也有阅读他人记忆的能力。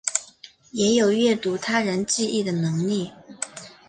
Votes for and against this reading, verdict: 3, 0, accepted